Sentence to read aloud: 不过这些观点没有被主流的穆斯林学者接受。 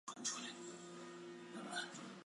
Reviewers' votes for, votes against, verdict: 0, 2, rejected